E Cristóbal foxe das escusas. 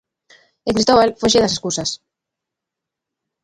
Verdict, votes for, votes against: accepted, 2, 1